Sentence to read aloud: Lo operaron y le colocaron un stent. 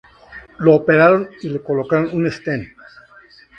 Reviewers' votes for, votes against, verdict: 2, 0, accepted